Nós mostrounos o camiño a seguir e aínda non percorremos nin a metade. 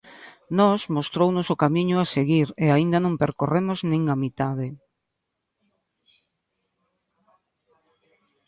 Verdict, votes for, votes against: accepted, 2, 0